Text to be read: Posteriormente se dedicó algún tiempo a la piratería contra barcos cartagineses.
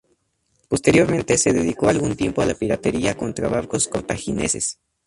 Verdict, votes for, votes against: rejected, 0, 2